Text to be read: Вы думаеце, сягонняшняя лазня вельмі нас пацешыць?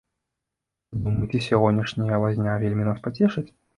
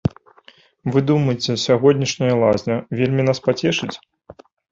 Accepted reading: second